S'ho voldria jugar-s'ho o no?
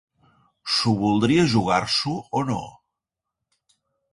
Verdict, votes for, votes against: accepted, 2, 0